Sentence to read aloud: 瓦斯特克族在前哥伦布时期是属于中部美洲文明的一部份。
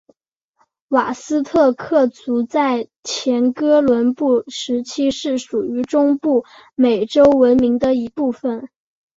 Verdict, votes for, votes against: accepted, 4, 0